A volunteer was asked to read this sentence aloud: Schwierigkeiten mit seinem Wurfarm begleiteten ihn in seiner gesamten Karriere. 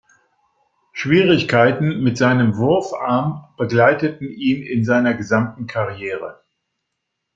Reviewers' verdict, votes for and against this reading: accepted, 2, 0